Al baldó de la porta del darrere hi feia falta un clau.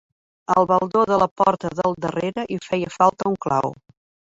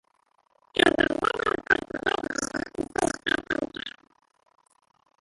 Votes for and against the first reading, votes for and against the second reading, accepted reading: 2, 0, 0, 2, first